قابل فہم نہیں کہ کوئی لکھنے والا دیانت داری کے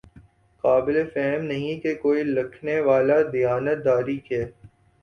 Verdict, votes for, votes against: accepted, 5, 3